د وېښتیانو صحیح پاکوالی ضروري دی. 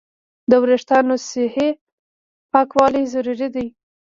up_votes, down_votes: 1, 2